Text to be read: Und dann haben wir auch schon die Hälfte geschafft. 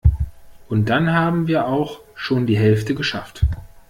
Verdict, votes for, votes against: rejected, 1, 2